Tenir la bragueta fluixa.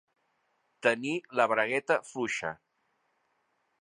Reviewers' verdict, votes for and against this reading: accepted, 2, 0